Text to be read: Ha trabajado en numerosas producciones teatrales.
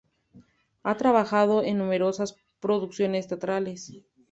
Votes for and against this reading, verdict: 2, 0, accepted